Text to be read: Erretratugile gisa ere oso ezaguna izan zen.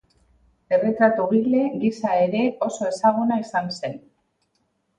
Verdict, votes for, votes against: accepted, 6, 0